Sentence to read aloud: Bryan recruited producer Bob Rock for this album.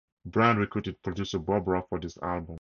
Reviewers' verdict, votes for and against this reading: accepted, 4, 0